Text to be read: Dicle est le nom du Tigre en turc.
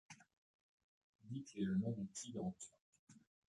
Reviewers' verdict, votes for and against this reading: rejected, 0, 2